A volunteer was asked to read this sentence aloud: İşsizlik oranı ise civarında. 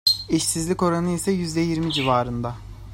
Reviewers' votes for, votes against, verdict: 2, 0, accepted